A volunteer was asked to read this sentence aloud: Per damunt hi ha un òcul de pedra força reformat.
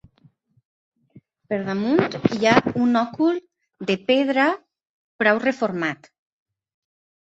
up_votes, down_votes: 1, 2